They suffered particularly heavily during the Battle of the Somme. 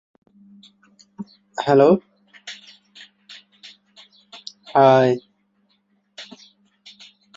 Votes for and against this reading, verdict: 0, 2, rejected